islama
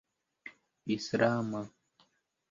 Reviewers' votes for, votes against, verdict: 0, 2, rejected